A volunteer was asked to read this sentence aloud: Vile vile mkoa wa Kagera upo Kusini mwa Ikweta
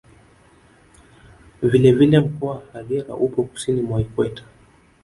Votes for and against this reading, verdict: 1, 2, rejected